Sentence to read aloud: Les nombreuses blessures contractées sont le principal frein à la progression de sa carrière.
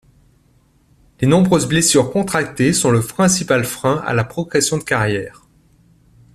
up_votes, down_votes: 0, 2